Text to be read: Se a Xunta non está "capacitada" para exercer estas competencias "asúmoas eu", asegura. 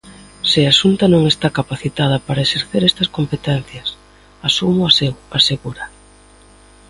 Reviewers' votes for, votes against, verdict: 2, 0, accepted